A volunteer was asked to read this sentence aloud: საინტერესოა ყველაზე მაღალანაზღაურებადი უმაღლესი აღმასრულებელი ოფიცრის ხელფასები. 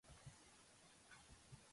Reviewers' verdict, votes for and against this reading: rejected, 0, 3